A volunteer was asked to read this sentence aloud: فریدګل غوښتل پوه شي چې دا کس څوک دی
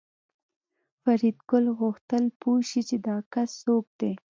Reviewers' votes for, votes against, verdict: 2, 0, accepted